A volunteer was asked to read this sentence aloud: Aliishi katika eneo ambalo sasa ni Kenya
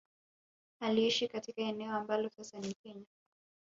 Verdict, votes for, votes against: accepted, 2, 0